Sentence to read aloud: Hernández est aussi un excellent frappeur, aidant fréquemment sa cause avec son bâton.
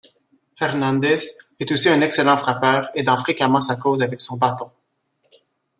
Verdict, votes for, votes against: accepted, 2, 0